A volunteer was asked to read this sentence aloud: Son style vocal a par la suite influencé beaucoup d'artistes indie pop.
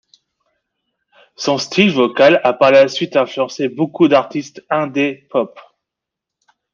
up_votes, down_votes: 0, 2